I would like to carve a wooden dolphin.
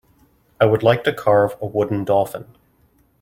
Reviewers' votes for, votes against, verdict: 2, 0, accepted